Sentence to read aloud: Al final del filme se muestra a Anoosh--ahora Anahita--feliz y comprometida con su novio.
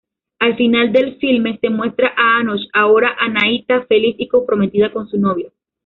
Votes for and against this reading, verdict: 2, 1, accepted